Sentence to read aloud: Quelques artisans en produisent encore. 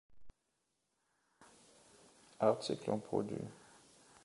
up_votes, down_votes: 0, 2